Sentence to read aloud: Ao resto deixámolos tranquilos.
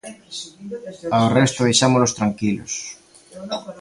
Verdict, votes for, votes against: accepted, 2, 1